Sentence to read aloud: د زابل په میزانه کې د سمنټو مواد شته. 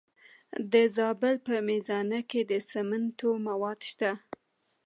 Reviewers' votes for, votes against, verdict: 2, 0, accepted